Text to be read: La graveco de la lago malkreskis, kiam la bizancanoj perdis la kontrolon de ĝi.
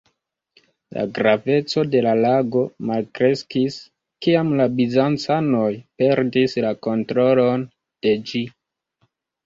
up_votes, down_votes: 1, 2